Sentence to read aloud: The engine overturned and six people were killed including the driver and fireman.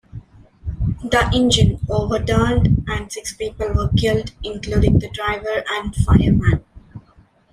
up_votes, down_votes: 2, 0